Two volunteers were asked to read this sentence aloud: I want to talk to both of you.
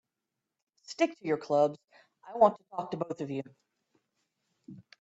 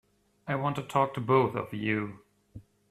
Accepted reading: second